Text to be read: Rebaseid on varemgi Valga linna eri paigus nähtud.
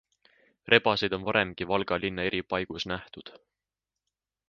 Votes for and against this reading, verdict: 2, 0, accepted